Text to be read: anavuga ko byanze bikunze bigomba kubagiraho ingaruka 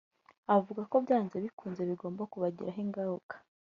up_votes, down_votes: 1, 2